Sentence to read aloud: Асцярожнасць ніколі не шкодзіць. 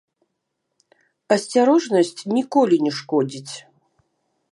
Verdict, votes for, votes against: rejected, 1, 2